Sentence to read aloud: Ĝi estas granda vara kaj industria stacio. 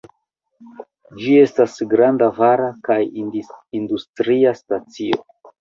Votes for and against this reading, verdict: 1, 2, rejected